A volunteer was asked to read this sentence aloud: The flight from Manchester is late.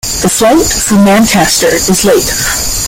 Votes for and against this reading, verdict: 2, 1, accepted